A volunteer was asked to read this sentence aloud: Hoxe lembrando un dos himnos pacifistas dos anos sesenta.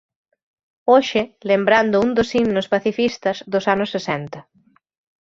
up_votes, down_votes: 2, 0